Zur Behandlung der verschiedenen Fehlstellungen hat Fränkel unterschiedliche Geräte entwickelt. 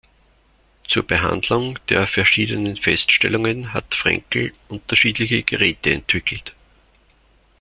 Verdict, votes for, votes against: rejected, 0, 2